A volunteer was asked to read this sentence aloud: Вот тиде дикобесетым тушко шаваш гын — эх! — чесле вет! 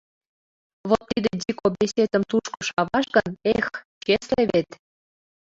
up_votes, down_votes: 0, 2